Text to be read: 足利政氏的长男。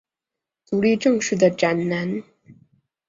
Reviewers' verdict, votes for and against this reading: accepted, 3, 1